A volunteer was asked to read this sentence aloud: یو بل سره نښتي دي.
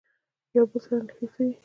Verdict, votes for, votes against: rejected, 1, 2